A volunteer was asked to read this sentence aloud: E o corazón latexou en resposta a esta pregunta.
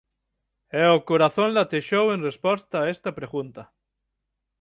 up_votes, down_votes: 6, 0